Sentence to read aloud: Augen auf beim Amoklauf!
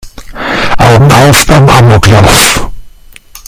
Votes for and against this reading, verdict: 0, 2, rejected